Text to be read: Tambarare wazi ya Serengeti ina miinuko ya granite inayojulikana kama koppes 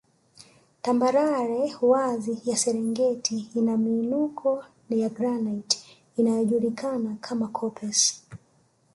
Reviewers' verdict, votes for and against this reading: accepted, 2, 0